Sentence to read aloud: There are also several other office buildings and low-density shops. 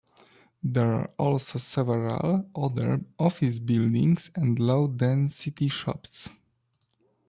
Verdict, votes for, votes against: accepted, 2, 0